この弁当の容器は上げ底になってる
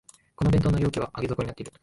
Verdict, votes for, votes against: rejected, 0, 2